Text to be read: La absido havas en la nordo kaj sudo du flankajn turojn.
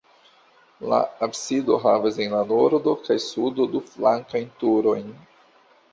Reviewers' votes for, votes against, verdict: 2, 0, accepted